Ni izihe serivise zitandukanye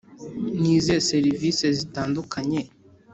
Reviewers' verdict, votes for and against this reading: accepted, 2, 1